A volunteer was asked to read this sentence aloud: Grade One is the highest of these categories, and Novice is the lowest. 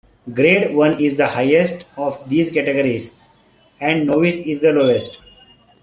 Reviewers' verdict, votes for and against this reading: accepted, 2, 0